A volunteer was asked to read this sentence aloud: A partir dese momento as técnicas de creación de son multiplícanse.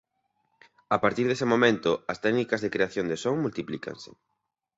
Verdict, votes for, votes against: accepted, 2, 0